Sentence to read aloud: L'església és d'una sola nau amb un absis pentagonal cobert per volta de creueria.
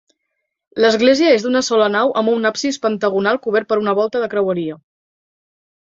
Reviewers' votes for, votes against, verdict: 0, 2, rejected